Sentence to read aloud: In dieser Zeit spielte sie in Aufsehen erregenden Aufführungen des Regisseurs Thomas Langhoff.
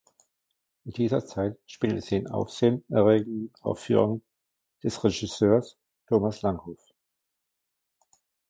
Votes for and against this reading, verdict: 0, 2, rejected